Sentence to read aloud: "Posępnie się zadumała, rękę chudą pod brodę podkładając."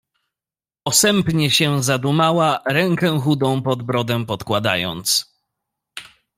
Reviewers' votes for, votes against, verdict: 0, 2, rejected